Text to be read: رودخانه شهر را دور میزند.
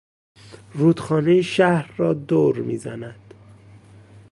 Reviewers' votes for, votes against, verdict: 2, 0, accepted